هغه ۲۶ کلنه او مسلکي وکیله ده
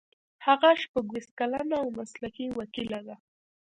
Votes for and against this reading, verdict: 0, 2, rejected